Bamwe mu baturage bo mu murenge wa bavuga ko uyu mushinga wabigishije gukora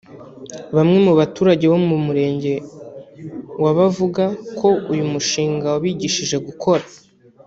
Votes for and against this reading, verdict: 0, 2, rejected